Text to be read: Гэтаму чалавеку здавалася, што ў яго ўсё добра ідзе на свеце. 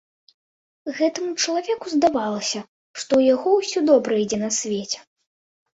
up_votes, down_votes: 1, 2